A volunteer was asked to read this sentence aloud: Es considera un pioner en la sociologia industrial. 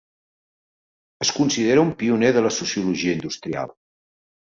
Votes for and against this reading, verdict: 1, 2, rejected